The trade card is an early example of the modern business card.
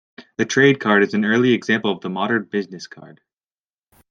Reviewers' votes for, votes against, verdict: 2, 0, accepted